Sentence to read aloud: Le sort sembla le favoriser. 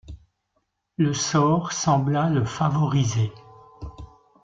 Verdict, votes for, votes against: accepted, 2, 0